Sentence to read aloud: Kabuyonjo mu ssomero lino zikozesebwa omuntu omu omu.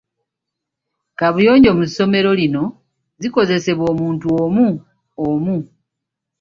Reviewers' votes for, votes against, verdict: 0, 2, rejected